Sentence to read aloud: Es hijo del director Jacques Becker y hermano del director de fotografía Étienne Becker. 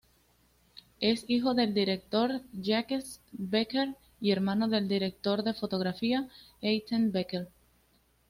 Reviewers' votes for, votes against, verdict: 2, 0, accepted